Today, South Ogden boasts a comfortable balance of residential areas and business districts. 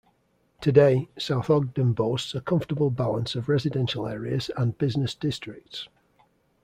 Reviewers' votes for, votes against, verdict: 2, 0, accepted